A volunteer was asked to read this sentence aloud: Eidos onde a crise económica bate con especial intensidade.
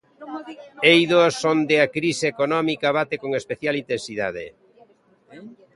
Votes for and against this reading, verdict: 1, 2, rejected